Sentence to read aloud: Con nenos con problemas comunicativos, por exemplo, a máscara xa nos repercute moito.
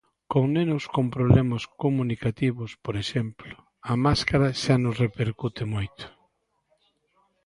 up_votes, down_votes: 2, 0